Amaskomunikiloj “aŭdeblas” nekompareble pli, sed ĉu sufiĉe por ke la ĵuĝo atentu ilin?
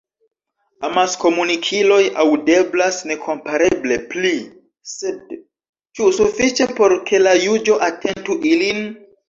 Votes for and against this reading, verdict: 1, 2, rejected